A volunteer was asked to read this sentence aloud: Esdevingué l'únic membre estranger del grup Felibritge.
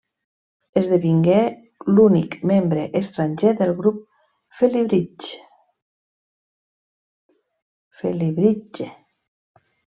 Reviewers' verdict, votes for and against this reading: rejected, 0, 2